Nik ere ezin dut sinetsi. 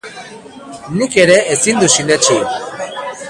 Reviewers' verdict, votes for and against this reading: rejected, 1, 2